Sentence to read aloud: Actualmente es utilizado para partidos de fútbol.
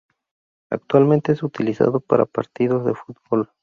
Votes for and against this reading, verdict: 4, 0, accepted